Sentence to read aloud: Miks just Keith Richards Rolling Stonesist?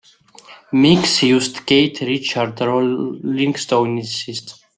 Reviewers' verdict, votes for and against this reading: rejected, 0, 2